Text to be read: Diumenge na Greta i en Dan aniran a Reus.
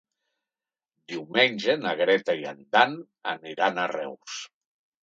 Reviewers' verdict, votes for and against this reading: accepted, 3, 0